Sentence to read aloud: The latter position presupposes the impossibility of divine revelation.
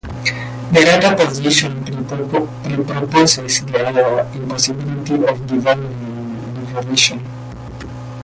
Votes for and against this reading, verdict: 0, 2, rejected